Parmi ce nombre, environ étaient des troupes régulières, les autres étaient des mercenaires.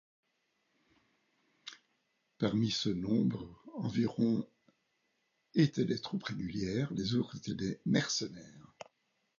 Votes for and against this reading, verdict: 2, 0, accepted